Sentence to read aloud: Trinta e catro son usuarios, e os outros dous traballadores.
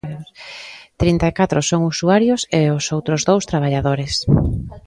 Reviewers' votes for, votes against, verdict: 2, 0, accepted